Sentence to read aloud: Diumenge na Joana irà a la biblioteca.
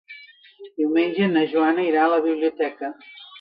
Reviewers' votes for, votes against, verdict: 0, 2, rejected